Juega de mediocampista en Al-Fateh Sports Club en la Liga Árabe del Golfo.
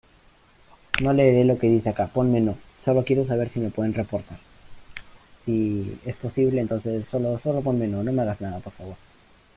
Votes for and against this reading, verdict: 0, 2, rejected